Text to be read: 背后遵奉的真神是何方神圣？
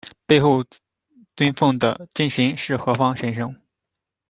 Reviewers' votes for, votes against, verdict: 2, 1, accepted